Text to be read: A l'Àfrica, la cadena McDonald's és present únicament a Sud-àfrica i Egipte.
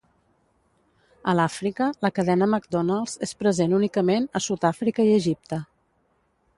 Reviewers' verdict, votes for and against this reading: accepted, 2, 0